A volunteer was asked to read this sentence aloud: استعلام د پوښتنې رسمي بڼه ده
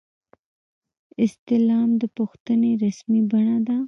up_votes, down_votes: 1, 2